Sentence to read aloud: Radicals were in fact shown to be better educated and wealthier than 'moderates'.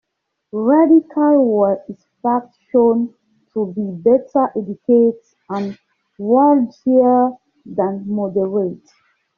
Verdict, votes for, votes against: rejected, 0, 2